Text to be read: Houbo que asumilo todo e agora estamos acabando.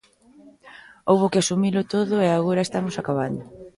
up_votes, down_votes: 2, 0